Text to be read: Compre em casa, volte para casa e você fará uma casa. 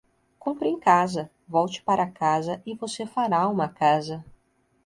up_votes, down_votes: 2, 0